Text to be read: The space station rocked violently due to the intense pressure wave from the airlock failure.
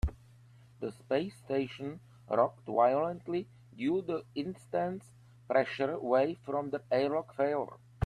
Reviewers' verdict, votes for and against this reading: rejected, 1, 3